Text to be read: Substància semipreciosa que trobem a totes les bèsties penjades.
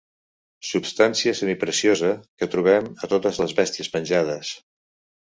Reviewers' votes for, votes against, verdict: 2, 0, accepted